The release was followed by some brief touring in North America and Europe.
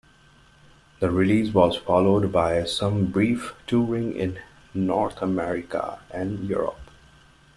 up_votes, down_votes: 2, 0